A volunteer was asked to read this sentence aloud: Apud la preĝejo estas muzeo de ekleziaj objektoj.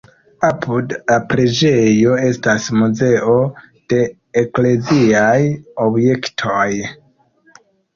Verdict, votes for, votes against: rejected, 1, 2